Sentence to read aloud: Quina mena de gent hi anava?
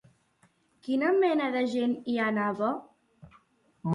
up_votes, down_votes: 2, 0